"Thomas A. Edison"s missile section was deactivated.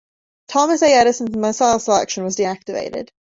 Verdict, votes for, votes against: accepted, 2, 1